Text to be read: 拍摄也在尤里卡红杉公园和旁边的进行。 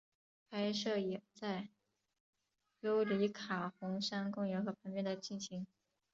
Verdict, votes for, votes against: accepted, 4, 1